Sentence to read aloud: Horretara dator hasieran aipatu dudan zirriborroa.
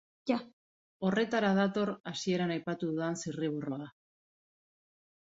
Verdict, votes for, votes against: rejected, 1, 3